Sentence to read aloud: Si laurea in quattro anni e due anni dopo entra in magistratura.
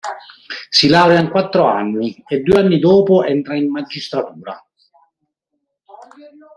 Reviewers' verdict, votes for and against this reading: accepted, 3, 0